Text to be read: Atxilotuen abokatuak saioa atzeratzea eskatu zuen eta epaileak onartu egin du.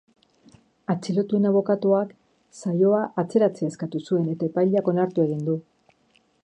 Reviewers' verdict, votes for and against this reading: accepted, 3, 0